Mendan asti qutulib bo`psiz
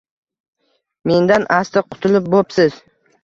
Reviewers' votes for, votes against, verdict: 2, 0, accepted